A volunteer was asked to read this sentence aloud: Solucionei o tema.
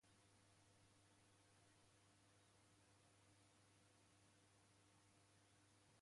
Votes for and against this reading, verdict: 0, 2, rejected